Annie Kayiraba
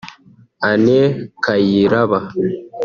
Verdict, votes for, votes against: rejected, 0, 2